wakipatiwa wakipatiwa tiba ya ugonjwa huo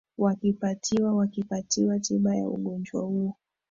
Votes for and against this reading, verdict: 2, 0, accepted